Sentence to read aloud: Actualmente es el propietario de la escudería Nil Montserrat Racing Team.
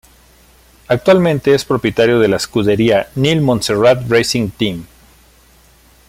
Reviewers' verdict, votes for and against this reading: rejected, 1, 2